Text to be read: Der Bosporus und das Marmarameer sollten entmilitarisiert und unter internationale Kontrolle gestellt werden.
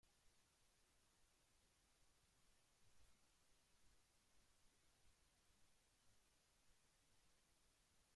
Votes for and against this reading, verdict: 0, 2, rejected